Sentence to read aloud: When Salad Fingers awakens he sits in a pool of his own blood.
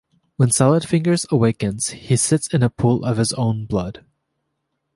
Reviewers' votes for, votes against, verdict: 3, 0, accepted